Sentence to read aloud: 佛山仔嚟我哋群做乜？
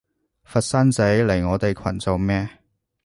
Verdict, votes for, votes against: rejected, 1, 2